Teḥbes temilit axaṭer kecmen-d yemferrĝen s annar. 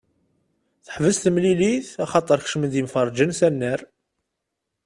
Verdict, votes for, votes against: accepted, 2, 0